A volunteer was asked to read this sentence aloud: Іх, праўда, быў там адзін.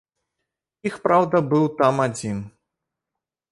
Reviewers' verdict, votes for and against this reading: rejected, 1, 2